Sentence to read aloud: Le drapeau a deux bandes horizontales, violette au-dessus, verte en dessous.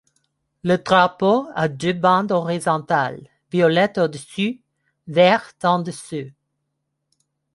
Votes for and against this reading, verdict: 2, 1, accepted